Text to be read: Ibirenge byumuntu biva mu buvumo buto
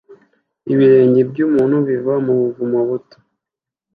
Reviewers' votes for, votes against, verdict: 2, 0, accepted